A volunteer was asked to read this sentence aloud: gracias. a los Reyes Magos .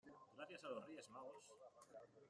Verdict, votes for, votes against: rejected, 0, 2